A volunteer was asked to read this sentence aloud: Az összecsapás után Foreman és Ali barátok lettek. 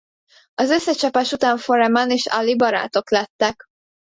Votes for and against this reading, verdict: 0, 2, rejected